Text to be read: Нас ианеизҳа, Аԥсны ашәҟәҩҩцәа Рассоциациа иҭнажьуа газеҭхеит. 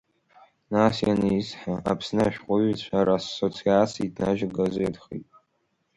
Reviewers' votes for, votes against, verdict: 1, 2, rejected